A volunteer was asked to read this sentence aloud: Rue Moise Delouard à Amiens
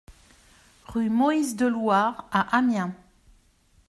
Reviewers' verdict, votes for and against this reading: rejected, 0, 2